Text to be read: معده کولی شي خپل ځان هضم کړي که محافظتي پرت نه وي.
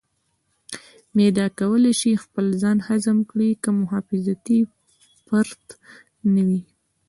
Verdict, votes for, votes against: accepted, 2, 1